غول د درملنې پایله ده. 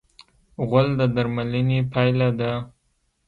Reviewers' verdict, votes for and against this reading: rejected, 1, 2